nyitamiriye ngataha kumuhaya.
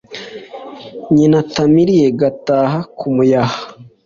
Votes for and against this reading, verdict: 2, 0, accepted